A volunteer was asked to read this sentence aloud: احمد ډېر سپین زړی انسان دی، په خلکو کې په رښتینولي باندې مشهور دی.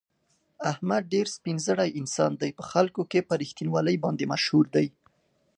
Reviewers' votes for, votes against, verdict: 2, 0, accepted